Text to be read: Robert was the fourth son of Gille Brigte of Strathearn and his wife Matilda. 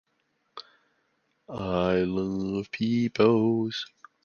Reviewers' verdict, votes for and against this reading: rejected, 0, 2